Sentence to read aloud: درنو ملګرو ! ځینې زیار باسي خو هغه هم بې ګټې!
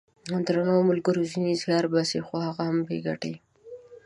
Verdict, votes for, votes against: accepted, 2, 0